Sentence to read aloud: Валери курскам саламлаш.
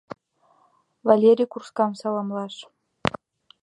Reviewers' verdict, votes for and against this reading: accepted, 2, 0